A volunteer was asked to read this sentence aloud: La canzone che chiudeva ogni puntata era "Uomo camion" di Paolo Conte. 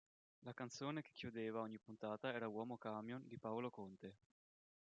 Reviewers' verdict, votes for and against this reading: rejected, 1, 2